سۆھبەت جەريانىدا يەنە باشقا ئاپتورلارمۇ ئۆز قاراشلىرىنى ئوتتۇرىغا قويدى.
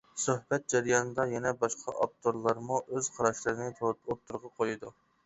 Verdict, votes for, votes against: rejected, 0, 2